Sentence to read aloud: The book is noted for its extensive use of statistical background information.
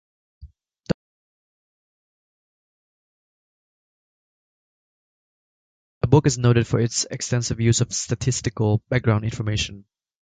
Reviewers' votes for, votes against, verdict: 0, 2, rejected